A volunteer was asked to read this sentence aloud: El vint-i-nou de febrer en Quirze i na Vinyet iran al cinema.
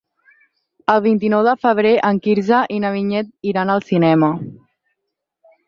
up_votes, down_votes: 6, 0